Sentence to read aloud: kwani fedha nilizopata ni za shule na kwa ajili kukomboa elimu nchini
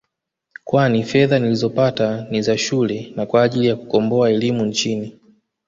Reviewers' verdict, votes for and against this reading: accepted, 2, 0